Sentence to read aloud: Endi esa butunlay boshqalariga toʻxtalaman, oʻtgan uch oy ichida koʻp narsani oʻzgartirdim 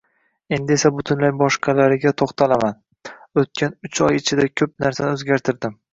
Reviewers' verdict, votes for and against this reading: accepted, 2, 0